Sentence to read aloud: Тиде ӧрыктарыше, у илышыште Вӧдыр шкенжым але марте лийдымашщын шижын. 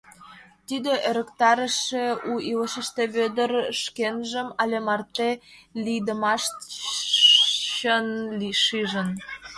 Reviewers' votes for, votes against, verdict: 1, 2, rejected